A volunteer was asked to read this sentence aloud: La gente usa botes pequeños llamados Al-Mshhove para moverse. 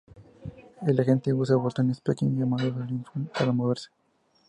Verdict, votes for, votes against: rejected, 0, 2